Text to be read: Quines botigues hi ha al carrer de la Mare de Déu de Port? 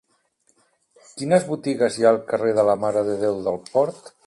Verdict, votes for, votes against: rejected, 0, 2